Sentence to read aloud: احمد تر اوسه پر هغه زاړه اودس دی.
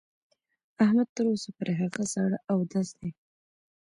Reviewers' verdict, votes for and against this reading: rejected, 0, 2